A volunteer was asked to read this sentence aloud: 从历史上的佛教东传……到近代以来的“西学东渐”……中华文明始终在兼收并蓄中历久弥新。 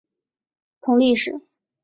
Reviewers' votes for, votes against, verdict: 0, 5, rejected